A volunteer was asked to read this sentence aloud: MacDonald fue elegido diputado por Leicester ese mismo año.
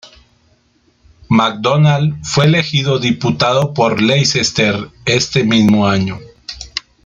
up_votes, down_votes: 0, 2